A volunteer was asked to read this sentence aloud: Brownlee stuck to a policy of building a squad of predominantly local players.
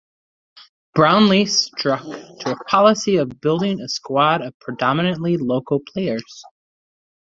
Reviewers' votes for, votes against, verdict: 0, 2, rejected